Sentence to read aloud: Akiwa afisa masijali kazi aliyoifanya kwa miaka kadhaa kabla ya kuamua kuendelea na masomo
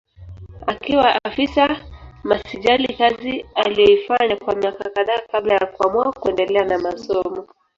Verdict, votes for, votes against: rejected, 1, 2